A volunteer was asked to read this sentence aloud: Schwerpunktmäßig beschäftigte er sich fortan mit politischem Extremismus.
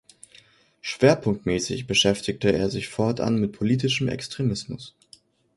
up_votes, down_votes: 2, 0